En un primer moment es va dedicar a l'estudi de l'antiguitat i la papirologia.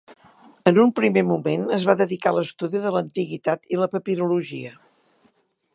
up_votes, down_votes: 3, 0